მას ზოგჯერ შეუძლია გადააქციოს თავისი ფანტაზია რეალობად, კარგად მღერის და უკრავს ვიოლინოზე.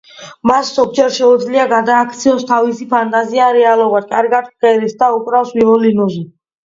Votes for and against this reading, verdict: 2, 1, accepted